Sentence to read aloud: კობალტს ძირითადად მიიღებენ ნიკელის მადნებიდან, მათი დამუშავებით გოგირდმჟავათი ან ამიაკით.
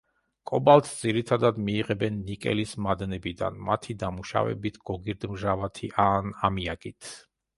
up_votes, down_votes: 2, 0